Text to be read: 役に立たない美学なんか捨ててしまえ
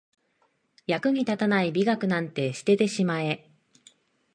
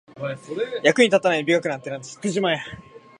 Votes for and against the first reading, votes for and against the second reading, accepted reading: 1, 2, 2, 0, second